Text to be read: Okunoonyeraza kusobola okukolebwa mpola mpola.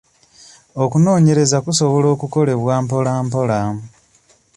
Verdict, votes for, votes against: accepted, 2, 0